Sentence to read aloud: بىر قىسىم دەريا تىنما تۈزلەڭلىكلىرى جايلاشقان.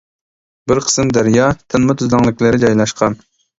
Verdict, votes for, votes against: accepted, 2, 0